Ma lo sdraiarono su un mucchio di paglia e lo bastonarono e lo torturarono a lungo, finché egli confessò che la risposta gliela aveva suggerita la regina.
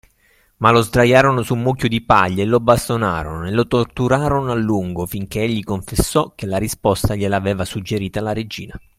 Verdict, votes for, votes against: accepted, 2, 0